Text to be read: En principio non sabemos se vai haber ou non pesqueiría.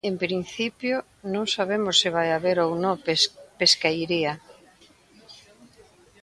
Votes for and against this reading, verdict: 0, 2, rejected